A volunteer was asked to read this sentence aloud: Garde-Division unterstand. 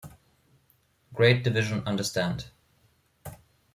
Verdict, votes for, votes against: rejected, 0, 2